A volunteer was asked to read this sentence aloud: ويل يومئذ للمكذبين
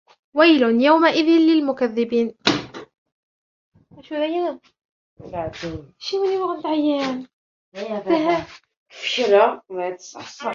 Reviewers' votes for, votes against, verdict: 1, 2, rejected